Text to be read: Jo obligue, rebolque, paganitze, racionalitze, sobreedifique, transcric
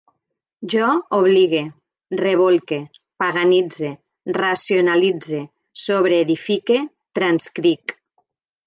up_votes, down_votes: 3, 0